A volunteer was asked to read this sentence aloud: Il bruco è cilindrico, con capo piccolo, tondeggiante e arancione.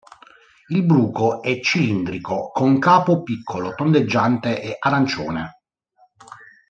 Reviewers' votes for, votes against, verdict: 2, 0, accepted